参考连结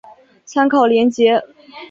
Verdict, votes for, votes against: accepted, 4, 0